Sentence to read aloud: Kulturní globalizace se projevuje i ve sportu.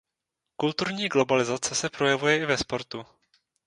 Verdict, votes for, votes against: accepted, 2, 0